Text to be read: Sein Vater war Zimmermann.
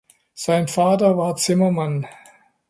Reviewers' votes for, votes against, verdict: 2, 0, accepted